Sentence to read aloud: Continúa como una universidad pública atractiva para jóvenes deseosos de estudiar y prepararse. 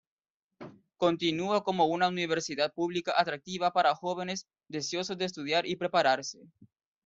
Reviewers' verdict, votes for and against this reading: rejected, 1, 2